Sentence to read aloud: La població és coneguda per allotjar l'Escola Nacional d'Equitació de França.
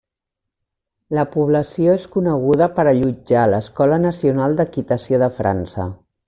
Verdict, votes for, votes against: accepted, 3, 0